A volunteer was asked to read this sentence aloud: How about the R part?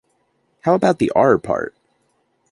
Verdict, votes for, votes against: accepted, 2, 0